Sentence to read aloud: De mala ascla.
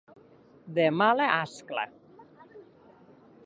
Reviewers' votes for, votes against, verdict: 4, 0, accepted